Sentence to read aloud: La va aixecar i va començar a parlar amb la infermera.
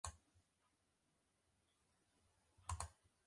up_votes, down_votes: 0, 3